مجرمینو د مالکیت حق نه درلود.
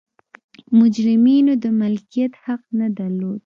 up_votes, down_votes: 2, 0